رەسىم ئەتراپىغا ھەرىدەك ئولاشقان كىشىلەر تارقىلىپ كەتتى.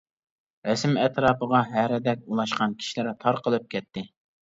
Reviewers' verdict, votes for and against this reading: rejected, 1, 2